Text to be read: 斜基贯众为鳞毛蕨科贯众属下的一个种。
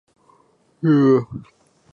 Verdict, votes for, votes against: rejected, 0, 3